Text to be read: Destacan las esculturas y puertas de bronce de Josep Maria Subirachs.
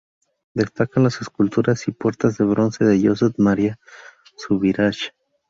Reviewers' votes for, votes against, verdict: 0, 2, rejected